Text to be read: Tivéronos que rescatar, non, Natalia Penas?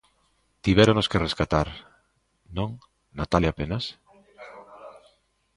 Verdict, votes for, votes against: rejected, 0, 2